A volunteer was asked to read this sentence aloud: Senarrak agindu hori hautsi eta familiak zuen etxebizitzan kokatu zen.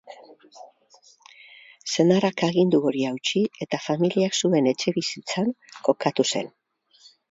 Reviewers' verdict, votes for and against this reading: accepted, 2, 0